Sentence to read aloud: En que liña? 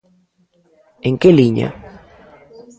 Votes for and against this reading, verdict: 2, 1, accepted